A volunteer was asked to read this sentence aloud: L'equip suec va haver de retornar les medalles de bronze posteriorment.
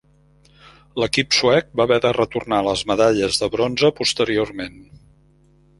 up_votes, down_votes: 1, 2